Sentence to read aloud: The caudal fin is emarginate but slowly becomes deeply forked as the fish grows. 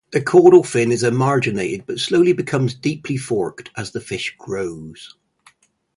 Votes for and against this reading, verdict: 2, 0, accepted